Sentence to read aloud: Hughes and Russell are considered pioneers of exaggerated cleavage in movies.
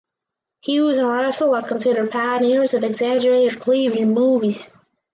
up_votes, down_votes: 0, 4